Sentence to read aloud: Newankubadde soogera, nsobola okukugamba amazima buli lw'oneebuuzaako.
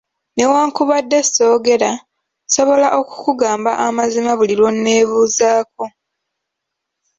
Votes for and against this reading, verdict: 2, 1, accepted